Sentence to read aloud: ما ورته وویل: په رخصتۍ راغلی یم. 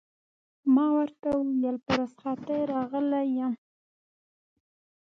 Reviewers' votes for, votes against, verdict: 2, 0, accepted